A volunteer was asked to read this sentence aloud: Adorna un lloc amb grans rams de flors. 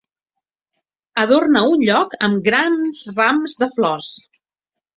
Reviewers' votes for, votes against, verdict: 2, 0, accepted